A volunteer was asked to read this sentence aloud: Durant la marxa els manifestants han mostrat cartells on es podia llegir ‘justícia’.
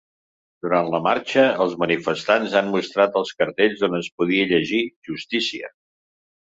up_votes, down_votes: 2, 0